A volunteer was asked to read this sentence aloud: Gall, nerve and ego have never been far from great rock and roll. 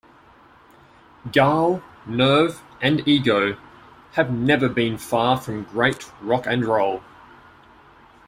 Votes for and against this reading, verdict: 2, 0, accepted